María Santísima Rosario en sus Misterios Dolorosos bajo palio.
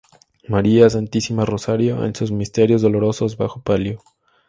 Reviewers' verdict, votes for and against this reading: accepted, 4, 0